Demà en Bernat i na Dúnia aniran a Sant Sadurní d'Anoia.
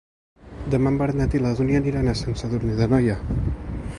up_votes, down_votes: 1, 2